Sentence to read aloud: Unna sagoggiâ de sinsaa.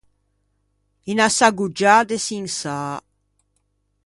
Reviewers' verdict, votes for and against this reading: rejected, 0, 2